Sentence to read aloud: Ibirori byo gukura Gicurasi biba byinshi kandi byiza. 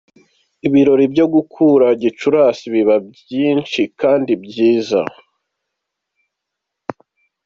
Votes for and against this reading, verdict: 2, 1, accepted